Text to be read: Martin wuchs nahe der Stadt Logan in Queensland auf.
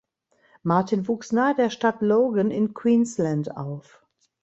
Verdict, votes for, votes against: accepted, 2, 0